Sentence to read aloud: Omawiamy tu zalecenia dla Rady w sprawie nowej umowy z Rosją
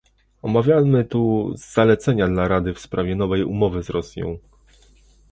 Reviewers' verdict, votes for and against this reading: rejected, 0, 2